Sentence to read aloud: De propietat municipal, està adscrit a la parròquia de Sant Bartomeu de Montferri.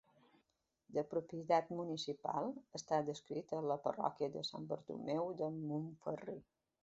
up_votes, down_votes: 1, 2